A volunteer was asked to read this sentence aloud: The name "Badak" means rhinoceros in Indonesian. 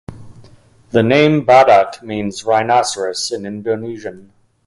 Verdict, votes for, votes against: accepted, 2, 0